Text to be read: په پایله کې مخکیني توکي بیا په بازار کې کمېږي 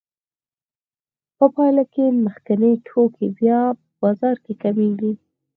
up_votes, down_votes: 0, 4